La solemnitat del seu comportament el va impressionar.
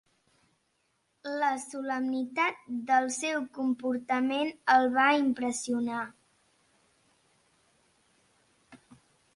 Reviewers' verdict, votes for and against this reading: accepted, 2, 0